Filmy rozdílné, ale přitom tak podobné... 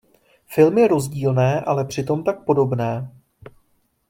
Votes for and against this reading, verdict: 2, 0, accepted